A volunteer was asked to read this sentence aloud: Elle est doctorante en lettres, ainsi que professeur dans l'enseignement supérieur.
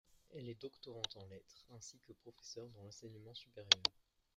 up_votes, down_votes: 1, 2